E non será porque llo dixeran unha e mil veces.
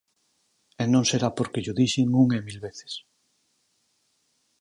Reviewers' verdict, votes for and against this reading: rejected, 0, 4